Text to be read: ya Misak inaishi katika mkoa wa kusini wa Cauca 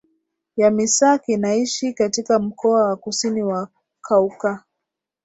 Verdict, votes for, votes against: rejected, 0, 2